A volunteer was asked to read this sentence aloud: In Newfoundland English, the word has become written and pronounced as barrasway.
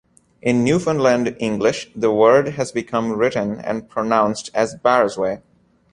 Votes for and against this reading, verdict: 2, 0, accepted